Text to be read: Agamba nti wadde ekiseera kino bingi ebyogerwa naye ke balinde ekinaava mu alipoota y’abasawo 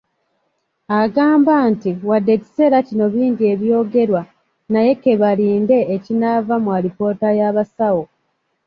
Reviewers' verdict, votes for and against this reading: accepted, 2, 0